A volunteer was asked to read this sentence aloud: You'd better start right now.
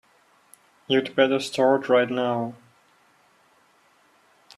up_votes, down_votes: 2, 0